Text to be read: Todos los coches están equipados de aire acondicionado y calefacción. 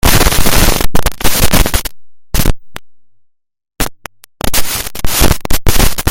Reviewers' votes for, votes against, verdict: 0, 2, rejected